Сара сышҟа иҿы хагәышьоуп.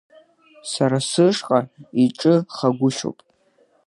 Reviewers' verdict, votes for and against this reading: accepted, 2, 0